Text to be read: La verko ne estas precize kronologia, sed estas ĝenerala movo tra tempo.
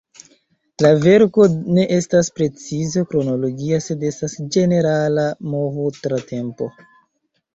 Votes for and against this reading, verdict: 2, 1, accepted